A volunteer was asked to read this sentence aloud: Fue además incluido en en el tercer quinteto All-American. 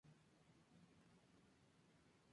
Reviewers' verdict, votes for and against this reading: rejected, 0, 4